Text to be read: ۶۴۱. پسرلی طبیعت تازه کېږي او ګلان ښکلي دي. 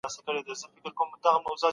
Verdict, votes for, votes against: rejected, 0, 2